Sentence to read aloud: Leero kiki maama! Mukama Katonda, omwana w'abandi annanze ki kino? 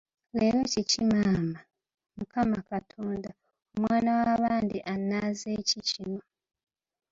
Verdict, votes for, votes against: accepted, 2, 0